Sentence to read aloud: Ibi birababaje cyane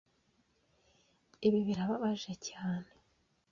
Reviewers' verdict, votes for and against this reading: accepted, 2, 0